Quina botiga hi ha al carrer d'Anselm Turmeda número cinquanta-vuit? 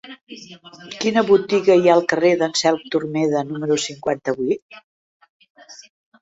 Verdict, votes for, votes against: rejected, 1, 2